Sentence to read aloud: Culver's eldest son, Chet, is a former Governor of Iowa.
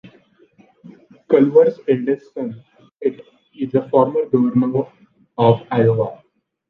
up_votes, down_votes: 1, 2